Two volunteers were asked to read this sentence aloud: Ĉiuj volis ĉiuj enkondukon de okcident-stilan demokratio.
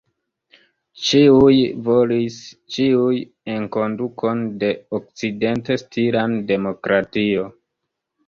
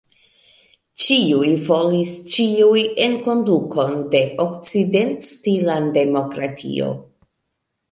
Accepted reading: first